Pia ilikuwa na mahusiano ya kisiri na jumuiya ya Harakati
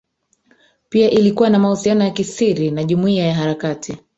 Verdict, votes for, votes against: rejected, 1, 2